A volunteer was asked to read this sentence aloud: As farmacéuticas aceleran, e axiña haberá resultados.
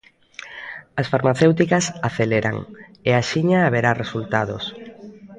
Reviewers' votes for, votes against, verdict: 4, 0, accepted